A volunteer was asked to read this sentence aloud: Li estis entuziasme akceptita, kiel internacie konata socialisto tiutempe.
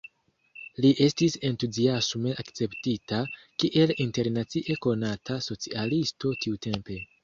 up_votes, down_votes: 2, 1